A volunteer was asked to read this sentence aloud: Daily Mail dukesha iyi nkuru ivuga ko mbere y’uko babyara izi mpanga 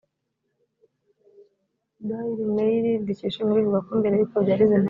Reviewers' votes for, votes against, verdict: 1, 2, rejected